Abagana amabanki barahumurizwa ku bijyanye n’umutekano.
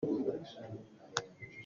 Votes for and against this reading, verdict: 0, 2, rejected